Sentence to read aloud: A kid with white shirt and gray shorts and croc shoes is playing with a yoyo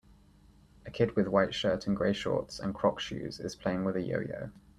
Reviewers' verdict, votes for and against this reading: accepted, 3, 0